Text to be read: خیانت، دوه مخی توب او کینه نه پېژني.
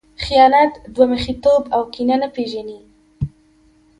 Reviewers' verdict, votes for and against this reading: accepted, 2, 0